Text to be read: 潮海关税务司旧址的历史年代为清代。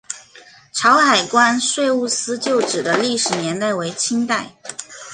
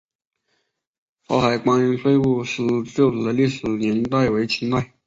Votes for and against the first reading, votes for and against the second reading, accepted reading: 2, 0, 0, 3, first